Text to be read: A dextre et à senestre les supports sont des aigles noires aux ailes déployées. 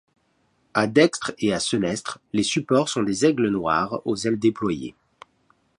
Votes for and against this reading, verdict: 2, 0, accepted